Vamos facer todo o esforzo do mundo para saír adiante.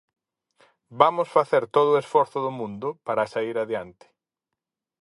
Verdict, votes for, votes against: accepted, 4, 0